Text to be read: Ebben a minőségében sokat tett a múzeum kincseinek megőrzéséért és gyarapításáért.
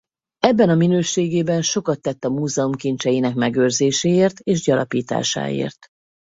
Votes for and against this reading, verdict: 2, 2, rejected